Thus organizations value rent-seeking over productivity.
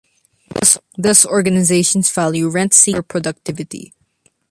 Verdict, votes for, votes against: rejected, 0, 2